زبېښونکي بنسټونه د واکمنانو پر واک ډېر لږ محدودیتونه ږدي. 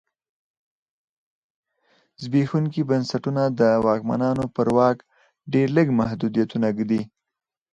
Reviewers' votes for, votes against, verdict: 0, 4, rejected